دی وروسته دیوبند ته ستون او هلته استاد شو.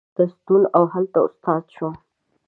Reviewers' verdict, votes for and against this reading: rejected, 0, 2